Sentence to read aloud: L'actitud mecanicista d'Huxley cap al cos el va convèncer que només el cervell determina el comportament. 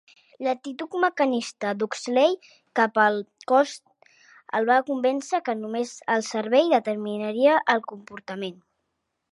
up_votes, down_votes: 2, 3